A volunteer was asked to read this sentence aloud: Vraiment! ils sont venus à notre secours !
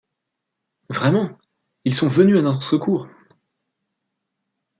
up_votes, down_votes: 2, 0